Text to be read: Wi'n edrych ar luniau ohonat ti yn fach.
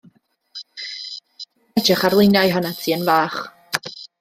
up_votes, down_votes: 0, 2